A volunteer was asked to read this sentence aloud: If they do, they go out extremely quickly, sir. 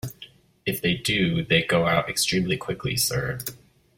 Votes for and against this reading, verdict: 2, 0, accepted